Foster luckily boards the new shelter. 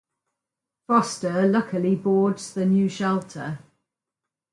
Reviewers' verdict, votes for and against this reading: rejected, 2, 2